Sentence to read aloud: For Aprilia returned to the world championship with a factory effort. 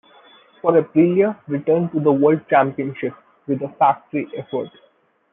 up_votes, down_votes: 2, 1